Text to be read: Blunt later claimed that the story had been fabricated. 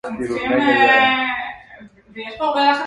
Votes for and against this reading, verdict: 0, 2, rejected